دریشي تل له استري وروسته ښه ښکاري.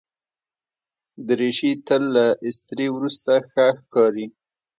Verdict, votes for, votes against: accepted, 2, 0